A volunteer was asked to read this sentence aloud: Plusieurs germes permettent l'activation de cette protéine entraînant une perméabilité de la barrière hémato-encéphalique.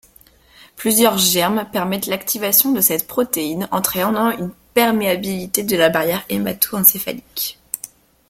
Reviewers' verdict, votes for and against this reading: rejected, 0, 2